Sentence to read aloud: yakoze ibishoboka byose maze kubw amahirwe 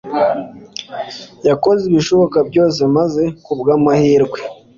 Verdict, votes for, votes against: accepted, 2, 0